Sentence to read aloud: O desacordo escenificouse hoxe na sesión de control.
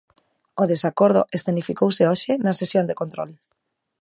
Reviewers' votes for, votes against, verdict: 2, 0, accepted